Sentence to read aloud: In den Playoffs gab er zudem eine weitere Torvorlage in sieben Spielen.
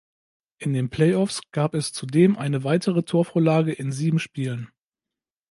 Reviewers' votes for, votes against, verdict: 1, 2, rejected